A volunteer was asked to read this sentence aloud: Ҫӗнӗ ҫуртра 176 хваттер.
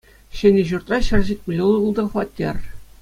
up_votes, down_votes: 0, 2